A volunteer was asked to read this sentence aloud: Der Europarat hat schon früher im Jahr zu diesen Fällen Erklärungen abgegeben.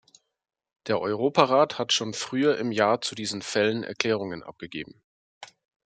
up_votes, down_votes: 2, 0